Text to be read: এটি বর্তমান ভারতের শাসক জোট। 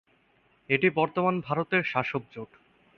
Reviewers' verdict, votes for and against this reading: rejected, 0, 2